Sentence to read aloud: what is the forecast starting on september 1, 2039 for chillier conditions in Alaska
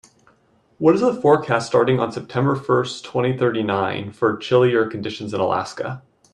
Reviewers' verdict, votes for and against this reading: rejected, 0, 2